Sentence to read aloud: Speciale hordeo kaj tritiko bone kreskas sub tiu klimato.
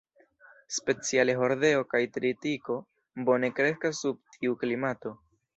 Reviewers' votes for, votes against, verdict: 2, 0, accepted